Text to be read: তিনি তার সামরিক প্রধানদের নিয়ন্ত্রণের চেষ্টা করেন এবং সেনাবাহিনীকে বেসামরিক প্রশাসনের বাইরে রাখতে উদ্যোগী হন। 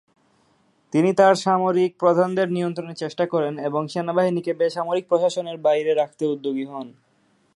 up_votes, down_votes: 28, 2